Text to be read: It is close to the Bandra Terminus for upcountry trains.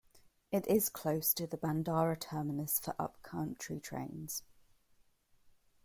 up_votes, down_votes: 0, 2